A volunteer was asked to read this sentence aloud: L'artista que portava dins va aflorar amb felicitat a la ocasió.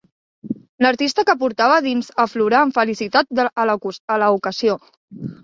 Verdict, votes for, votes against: rejected, 0, 3